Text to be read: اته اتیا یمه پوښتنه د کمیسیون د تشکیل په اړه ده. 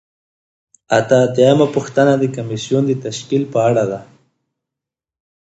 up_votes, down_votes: 2, 0